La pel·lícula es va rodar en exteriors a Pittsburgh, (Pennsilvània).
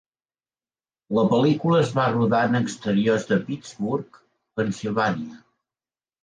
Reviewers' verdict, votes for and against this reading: accepted, 2, 1